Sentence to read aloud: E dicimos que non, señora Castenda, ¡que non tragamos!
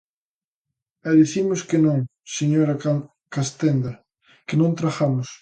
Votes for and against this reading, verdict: 1, 2, rejected